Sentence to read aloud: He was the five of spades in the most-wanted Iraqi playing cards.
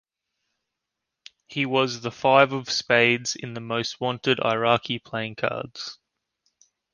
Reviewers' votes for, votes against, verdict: 2, 0, accepted